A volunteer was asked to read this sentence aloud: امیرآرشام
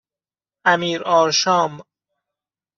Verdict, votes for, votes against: accepted, 2, 0